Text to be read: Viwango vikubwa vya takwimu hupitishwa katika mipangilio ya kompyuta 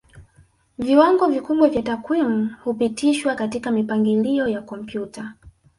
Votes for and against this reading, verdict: 1, 2, rejected